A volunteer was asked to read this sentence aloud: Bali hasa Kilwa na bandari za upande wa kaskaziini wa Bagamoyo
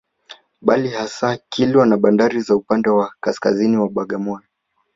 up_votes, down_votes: 2, 0